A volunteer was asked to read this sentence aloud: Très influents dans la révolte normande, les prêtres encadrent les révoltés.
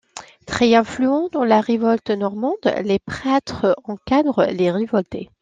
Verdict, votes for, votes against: accepted, 2, 0